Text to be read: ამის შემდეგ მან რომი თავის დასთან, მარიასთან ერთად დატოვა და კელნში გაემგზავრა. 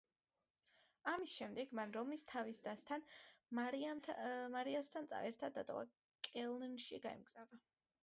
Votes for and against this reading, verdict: 0, 2, rejected